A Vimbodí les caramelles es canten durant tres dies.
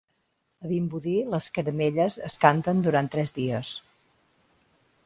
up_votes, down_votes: 2, 0